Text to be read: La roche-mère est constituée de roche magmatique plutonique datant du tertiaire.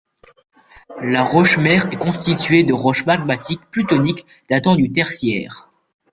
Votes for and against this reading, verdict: 2, 0, accepted